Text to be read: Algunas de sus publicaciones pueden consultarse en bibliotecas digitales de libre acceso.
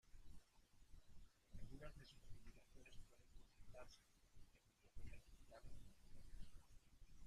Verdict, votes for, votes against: rejected, 0, 2